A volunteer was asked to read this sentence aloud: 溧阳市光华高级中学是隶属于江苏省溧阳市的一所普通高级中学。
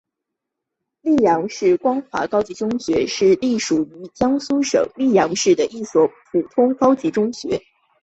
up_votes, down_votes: 6, 0